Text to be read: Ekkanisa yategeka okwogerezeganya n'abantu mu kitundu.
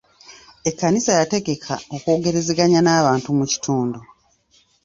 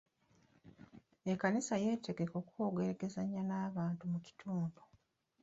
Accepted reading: first